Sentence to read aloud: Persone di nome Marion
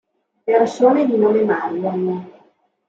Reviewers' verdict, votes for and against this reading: rejected, 0, 2